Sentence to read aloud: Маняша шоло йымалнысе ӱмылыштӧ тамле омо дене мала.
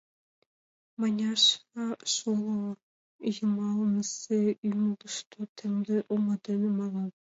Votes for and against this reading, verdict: 0, 2, rejected